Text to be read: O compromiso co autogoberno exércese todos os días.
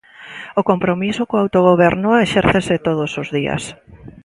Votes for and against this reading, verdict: 2, 1, accepted